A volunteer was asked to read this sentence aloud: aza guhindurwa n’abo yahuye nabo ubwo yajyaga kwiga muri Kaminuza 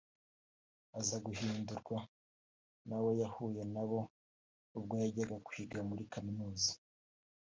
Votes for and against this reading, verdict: 2, 1, accepted